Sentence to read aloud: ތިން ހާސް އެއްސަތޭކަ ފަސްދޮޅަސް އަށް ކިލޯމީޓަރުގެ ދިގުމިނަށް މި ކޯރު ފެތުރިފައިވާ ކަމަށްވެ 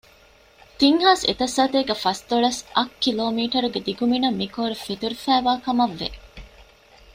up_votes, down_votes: 1, 2